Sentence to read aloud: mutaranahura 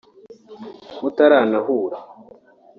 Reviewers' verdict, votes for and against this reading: accepted, 4, 0